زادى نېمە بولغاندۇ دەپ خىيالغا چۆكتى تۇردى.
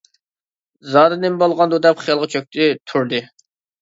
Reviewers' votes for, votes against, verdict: 2, 0, accepted